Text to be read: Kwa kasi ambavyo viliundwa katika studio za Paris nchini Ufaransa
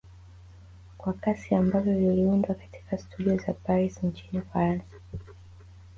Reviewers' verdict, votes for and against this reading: accepted, 4, 2